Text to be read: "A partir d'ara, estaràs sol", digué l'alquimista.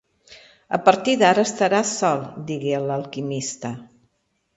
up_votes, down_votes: 2, 0